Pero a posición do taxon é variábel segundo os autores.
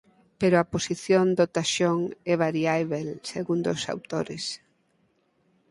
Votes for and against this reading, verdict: 2, 4, rejected